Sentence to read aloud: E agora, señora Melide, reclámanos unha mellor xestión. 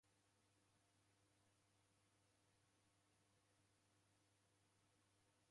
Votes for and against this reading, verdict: 0, 2, rejected